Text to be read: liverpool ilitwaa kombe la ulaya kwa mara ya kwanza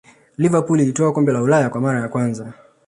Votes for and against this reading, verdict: 2, 0, accepted